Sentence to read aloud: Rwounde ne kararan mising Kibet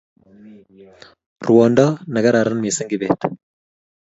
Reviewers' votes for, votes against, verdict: 2, 0, accepted